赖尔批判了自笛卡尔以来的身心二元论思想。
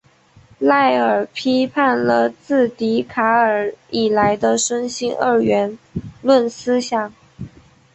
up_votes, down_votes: 3, 0